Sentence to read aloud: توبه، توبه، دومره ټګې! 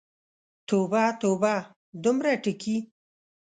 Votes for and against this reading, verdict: 1, 2, rejected